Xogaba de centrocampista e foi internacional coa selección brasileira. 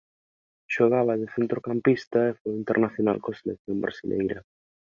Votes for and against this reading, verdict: 1, 2, rejected